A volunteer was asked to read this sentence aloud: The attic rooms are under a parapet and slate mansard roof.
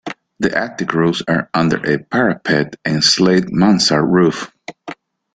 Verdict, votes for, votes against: rejected, 0, 2